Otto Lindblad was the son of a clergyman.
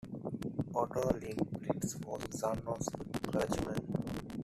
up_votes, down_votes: 1, 2